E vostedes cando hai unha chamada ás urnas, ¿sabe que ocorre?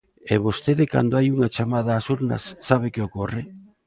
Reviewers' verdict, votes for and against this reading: rejected, 0, 2